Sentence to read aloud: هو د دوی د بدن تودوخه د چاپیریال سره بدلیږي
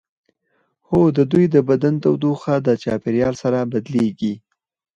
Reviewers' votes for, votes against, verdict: 4, 2, accepted